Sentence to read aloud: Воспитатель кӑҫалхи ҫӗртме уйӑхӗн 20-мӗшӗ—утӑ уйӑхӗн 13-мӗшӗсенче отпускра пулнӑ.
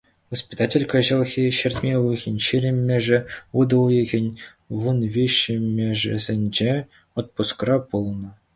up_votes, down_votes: 0, 2